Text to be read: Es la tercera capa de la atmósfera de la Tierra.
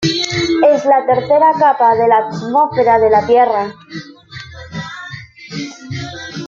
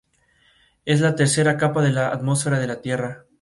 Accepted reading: second